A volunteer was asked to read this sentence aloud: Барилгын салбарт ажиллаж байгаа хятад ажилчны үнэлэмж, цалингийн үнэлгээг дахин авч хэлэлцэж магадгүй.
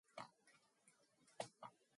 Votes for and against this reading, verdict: 0, 2, rejected